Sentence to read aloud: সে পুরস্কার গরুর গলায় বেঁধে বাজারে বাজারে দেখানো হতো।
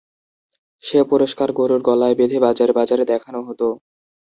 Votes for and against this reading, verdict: 2, 0, accepted